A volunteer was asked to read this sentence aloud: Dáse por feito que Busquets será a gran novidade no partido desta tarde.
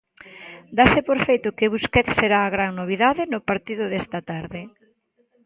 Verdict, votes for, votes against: accepted, 2, 0